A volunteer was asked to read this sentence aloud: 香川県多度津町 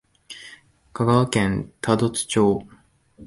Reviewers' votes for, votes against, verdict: 5, 0, accepted